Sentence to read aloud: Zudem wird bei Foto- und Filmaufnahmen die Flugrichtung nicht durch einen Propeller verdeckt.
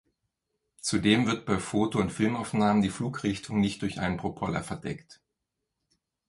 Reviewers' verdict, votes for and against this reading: rejected, 1, 2